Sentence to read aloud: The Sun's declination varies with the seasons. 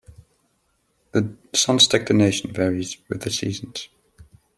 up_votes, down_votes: 1, 2